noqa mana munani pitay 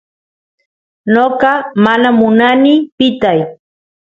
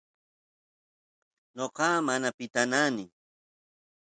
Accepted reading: first